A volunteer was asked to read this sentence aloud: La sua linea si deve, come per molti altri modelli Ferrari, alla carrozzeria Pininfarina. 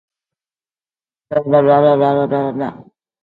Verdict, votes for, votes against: rejected, 0, 2